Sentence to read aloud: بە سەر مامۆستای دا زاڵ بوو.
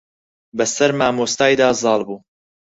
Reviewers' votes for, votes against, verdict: 6, 2, accepted